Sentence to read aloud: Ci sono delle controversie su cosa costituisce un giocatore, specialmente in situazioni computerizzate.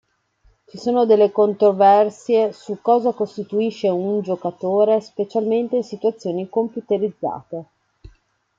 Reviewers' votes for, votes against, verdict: 0, 2, rejected